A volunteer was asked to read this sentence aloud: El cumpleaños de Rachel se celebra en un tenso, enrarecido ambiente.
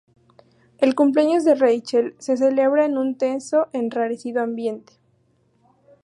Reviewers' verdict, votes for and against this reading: accepted, 2, 0